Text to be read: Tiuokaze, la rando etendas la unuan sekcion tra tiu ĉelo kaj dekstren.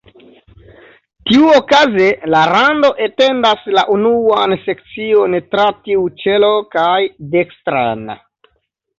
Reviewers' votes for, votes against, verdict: 2, 0, accepted